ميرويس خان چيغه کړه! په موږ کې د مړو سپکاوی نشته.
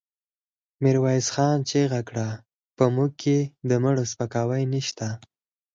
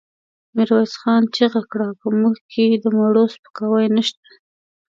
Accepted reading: first